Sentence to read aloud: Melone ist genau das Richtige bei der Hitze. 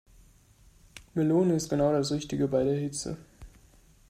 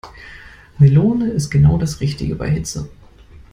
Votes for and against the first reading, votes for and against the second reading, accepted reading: 2, 0, 1, 2, first